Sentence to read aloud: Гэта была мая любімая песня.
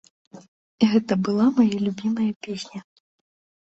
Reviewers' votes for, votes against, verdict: 2, 0, accepted